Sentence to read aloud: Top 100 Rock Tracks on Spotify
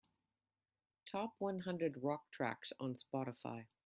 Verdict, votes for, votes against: rejected, 0, 2